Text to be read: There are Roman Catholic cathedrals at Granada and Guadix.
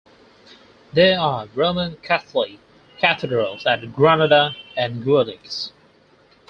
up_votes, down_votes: 2, 4